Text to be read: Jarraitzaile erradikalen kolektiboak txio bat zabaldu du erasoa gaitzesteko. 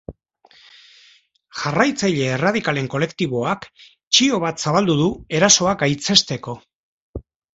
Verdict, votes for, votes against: accepted, 2, 0